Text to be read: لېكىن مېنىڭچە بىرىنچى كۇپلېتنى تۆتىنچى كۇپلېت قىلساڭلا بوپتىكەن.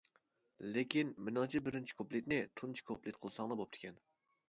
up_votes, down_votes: 0, 2